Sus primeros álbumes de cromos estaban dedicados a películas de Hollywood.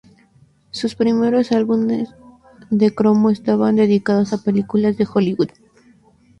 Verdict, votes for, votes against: rejected, 0, 2